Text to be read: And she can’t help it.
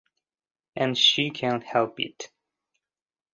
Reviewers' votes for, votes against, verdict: 2, 0, accepted